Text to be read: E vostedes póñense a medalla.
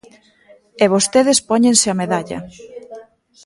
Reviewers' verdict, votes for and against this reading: rejected, 1, 2